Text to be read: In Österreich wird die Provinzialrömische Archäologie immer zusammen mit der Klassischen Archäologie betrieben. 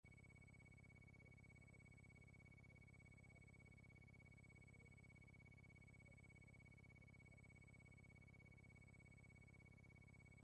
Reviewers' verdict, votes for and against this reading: rejected, 0, 2